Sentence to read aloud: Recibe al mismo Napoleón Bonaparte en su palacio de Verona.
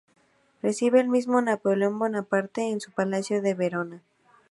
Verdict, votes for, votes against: accepted, 2, 0